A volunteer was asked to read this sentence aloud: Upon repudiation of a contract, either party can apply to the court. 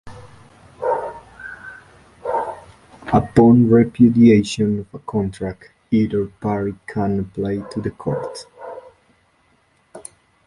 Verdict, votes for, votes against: rejected, 1, 2